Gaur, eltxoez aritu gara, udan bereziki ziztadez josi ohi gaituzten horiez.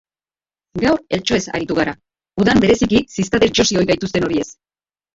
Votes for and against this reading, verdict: 0, 2, rejected